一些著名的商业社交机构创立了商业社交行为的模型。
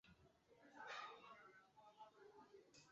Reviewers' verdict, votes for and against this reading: rejected, 0, 4